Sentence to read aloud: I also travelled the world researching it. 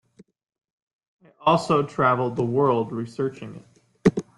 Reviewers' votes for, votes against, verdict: 1, 2, rejected